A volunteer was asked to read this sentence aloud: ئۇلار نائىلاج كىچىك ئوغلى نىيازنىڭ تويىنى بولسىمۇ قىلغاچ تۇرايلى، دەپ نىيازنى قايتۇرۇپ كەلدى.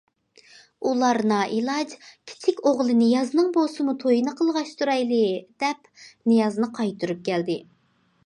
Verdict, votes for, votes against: rejected, 0, 2